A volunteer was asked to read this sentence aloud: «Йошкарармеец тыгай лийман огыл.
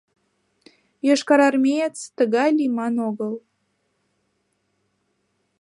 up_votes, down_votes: 2, 0